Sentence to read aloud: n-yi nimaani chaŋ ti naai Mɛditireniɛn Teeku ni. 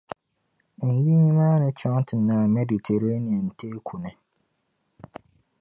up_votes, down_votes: 0, 2